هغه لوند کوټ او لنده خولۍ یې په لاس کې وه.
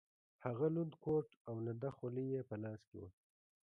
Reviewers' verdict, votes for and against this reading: rejected, 1, 2